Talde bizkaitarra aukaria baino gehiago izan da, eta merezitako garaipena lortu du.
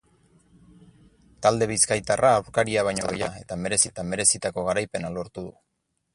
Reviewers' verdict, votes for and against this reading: rejected, 0, 4